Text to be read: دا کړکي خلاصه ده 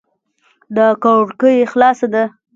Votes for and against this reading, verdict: 3, 0, accepted